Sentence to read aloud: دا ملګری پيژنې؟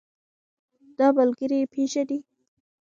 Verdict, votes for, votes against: rejected, 0, 2